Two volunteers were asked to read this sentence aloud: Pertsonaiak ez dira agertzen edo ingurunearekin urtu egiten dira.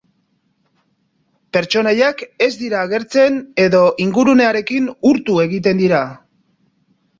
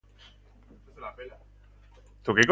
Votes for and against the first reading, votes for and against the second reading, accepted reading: 4, 0, 0, 3, first